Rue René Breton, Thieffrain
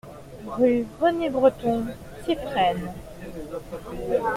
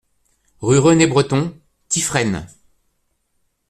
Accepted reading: first